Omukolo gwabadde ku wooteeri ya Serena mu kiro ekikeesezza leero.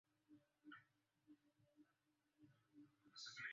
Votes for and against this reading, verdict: 0, 2, rejected